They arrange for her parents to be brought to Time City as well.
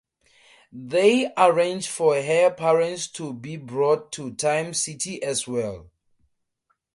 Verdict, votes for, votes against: accepted, 2, 0